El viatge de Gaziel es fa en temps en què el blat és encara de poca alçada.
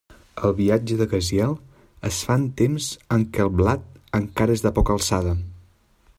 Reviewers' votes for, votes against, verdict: 2, 3, rejected